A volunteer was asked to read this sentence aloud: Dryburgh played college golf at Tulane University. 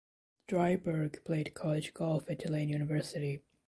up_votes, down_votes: 0, 2